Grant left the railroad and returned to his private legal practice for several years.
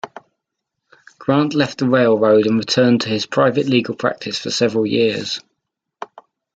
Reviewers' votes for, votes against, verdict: 2, 0, accepted